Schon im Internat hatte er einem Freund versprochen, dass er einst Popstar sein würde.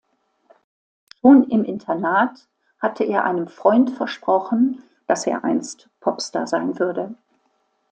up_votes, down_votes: 2, 1